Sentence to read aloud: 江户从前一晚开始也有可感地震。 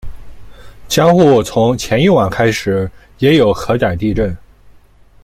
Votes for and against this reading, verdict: 1, 2, rejected